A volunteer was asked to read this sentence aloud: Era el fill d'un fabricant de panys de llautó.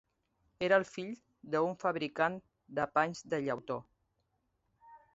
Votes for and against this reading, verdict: 1, 2, rejected